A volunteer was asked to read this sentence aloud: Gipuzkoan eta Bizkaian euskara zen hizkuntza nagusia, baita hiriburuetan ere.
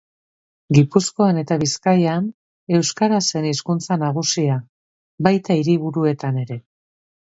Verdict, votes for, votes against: accepted, 2, 0